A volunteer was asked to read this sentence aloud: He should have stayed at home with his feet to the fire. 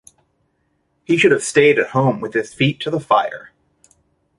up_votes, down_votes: 2, 0